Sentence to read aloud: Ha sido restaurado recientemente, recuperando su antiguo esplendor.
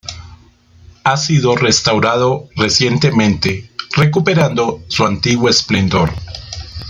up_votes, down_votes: 2, 0